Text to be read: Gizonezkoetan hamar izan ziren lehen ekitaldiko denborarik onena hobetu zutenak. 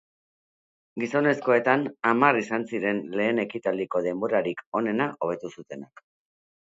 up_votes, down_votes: 2, 0